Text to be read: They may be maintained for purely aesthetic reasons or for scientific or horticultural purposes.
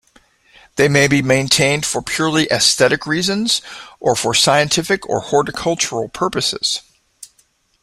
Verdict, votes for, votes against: accepted, 2, 0